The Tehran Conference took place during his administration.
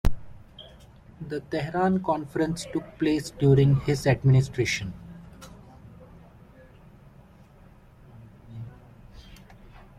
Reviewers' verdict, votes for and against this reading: accepted, 2, 0